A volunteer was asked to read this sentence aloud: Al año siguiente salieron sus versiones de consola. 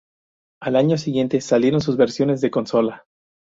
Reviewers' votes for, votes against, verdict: 2, 0, accepted